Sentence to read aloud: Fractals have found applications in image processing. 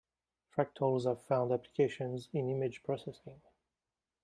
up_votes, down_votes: 2, 3